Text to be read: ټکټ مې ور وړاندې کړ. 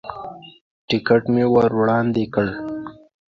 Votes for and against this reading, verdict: 2, 0, accepted